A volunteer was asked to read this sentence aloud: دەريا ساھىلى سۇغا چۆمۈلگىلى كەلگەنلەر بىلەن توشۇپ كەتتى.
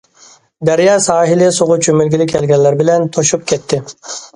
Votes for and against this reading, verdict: 2, 0, accepted